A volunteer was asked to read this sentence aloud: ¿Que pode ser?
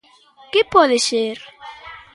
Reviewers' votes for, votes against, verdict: 2, 0, accepted